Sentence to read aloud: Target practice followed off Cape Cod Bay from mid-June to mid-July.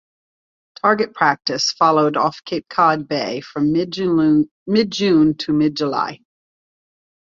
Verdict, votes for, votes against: rejected, 0, 2